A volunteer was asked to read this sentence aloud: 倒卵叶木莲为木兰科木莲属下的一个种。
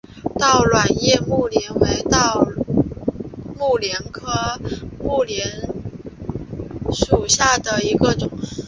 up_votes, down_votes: 1, 4